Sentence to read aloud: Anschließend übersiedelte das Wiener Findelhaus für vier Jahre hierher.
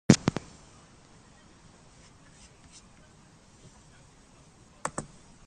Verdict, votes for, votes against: rejected, 0, 2